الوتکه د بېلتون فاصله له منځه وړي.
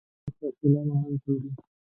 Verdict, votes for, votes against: rejected, 1, 2